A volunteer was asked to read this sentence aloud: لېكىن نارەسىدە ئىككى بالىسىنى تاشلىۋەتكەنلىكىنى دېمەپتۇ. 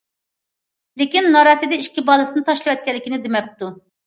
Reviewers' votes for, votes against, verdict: 2, 0, accepted